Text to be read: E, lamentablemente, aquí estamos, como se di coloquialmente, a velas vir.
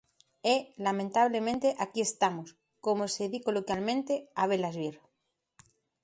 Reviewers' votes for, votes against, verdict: 2, 0, accepted